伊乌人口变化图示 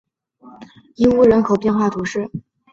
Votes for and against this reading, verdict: 3, 0, accepted